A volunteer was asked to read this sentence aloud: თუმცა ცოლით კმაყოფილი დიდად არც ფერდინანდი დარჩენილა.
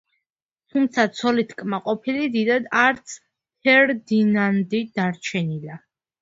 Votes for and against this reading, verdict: 2, 1, accepted